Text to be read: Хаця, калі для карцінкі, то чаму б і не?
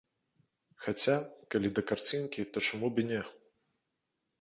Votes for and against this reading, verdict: 0, 2, rejected